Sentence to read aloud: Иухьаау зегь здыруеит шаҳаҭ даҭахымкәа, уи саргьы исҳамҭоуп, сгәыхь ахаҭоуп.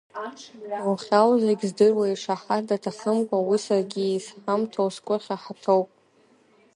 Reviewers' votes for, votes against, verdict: 0, 2, rejected